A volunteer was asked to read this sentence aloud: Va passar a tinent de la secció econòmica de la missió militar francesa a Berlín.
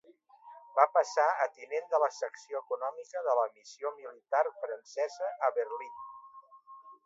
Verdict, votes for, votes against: rejected, 1, 2